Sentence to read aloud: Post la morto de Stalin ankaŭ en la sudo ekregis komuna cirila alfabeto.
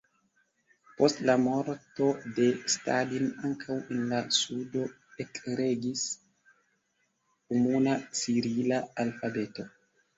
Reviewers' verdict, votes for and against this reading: rejected, 1, 2